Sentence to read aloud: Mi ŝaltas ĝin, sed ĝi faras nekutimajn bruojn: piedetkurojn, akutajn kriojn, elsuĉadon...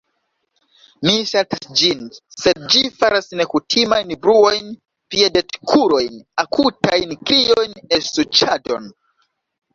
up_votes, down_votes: 1, 2